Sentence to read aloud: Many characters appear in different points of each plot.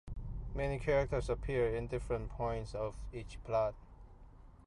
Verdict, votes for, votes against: accepted, 2, 0